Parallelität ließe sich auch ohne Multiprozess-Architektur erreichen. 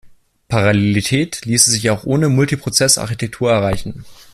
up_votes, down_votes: 2, 0